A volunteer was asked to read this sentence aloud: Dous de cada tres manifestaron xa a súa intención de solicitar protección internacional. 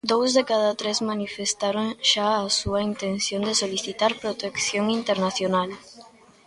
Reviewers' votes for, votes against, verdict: 2, 0, accepted